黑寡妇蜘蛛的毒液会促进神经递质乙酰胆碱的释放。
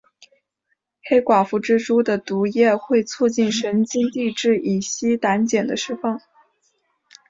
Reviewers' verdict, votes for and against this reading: accepted, 2, 0